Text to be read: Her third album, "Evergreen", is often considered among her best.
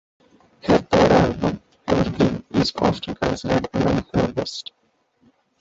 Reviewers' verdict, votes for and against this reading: rejected, 0, 2